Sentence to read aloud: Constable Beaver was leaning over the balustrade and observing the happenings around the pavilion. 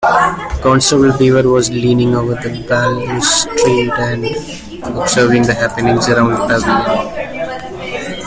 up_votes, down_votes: 0, 2